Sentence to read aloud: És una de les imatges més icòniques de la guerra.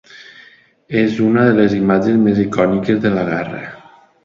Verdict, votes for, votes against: accepted, 2, 1